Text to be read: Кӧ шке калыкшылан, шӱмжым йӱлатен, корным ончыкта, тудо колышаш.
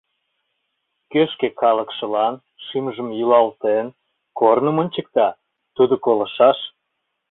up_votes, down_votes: 1, 2